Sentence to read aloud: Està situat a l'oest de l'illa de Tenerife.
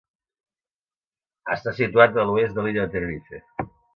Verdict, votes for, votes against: accepted, 2, 0